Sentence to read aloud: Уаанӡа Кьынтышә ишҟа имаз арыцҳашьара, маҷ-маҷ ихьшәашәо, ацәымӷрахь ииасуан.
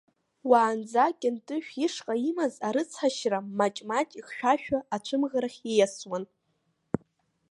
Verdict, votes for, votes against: accepted, 2, 0